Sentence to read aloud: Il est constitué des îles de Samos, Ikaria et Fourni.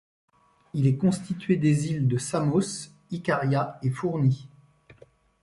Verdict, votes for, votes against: accepted, 2, 0